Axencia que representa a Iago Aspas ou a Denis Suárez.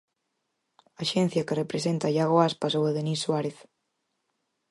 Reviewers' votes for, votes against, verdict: 4, 0, accepted